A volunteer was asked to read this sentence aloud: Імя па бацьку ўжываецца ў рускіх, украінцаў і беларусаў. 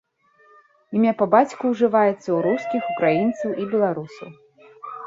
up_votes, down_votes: 0, 2